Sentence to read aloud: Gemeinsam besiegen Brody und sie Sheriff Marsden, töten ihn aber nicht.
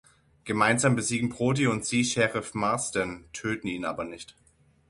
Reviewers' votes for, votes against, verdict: 6, 0, accepted